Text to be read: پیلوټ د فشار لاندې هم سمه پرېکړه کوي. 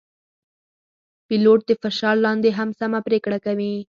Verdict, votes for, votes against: accepted, 4, 0